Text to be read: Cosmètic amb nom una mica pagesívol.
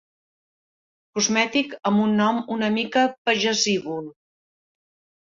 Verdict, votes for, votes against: rejected, 0, 2